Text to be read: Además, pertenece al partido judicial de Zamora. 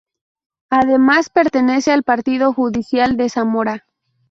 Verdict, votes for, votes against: accepted, 2, 0